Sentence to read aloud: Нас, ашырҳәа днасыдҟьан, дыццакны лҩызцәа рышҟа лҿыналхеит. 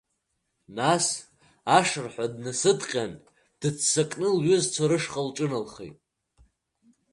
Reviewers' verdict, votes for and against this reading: accepted, 2, 1